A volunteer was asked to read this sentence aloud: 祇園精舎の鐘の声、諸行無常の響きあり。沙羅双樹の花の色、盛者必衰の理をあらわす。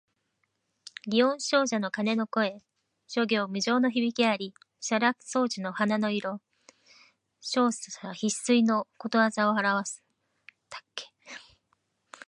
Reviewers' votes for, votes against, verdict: 2, 0, accepted